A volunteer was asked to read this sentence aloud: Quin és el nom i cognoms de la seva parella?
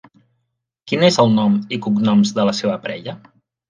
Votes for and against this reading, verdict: 3, 0, accepted